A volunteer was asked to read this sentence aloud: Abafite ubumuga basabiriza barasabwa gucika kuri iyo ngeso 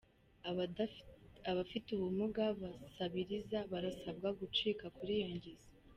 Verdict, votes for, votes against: rejected, 1, 2